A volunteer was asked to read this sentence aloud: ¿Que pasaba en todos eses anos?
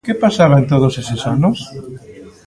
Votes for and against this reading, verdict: 1, 2, rejected